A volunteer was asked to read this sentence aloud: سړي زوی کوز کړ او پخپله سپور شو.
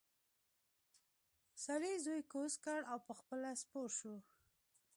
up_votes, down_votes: 1, 2